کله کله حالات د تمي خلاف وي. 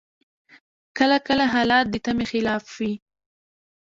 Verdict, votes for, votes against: rejected, 1, 2